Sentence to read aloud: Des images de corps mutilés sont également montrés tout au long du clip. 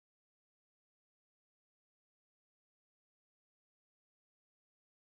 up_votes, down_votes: 0, 4